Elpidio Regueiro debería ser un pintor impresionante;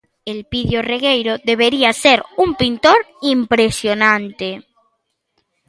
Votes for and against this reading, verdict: 2, 0, accepted